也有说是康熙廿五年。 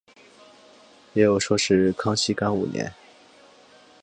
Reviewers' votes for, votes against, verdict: 1, 2, rejected